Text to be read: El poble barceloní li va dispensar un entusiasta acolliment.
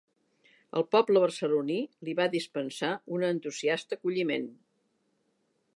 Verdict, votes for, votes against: accepted, 2, 0